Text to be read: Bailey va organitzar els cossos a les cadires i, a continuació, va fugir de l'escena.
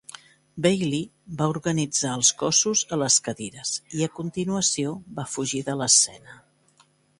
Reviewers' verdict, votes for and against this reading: accepted, 2, 0